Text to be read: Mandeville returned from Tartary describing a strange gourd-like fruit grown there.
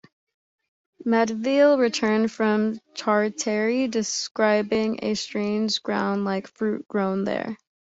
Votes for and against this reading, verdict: 1, 2, rejected